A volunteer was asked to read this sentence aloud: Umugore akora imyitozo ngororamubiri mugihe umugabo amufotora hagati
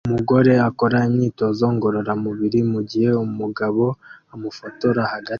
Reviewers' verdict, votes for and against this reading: accepted, 2, 1